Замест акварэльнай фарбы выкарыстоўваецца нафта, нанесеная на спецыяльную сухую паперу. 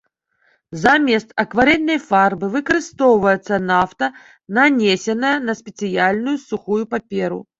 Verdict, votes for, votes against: accepted, 2, 1